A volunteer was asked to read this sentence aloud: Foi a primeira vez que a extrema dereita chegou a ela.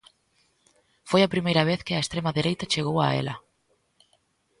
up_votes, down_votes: 2, 0